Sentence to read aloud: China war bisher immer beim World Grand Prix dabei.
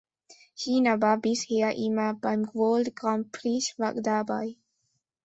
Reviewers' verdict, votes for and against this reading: rejected, 0, 2